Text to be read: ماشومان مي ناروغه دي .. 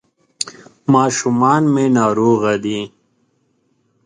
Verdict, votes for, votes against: accepted, 2, 0